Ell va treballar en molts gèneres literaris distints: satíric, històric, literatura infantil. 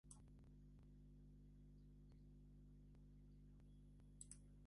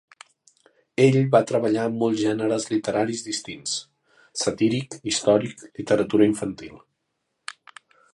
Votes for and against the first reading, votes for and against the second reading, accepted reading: 0, 2, 3, 1, second